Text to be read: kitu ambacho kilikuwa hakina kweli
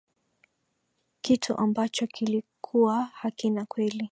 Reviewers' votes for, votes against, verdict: 2, 0, accepted